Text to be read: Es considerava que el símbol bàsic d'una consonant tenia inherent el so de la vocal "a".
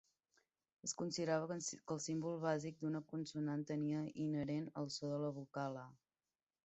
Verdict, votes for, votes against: rejected, 0, 2